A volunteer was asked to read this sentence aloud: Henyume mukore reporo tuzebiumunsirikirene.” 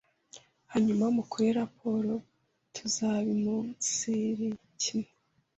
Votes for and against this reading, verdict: 1, 2, rejected